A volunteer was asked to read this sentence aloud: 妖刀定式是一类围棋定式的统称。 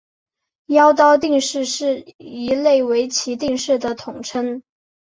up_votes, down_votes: 3, 0